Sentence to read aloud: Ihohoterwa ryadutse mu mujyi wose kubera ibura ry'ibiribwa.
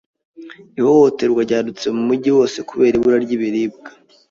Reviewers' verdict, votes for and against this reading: accepted, 3, 0